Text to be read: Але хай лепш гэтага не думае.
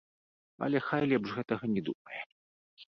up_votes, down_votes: 0, 2